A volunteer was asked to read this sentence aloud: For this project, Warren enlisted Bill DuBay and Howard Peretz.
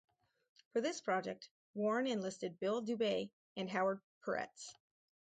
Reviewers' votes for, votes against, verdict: 2, 2, rejected